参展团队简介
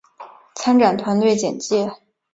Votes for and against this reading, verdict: 2, 0, accepted